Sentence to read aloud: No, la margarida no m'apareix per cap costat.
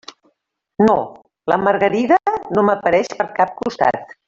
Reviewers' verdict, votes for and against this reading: rejected, 0, 2